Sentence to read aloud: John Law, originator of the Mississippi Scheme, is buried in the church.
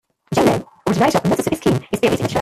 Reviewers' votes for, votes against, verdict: 0, 2, rejected